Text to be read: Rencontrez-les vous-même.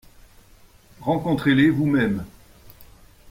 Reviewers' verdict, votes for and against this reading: accepted, 2, 0